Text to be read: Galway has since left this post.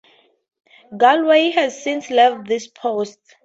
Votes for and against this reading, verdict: 4, 0, accepted